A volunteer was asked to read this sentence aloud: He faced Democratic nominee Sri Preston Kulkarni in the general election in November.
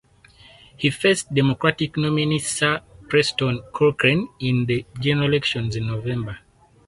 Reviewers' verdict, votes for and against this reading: rejected, 0, 4